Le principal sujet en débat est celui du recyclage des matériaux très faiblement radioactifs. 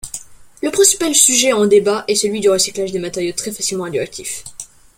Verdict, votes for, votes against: rejected, 0, 3